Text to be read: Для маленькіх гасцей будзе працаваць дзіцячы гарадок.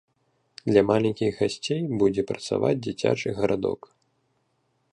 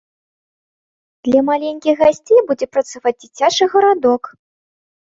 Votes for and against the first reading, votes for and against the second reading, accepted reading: 1, 2, 2, 0, second